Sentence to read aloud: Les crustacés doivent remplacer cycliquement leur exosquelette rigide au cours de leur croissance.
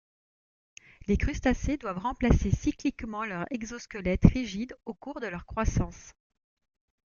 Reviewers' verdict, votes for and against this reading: accepted, 2, 0